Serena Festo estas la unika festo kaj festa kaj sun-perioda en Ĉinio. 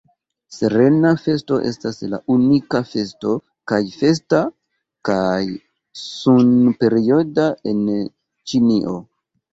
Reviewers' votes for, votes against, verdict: 2, 0, accepted